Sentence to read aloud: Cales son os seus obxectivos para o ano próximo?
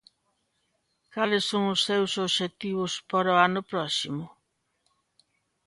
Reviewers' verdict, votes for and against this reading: accepted, 2, 0